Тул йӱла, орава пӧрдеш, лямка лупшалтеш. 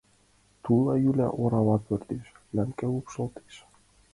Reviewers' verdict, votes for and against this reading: rejected, 0, 2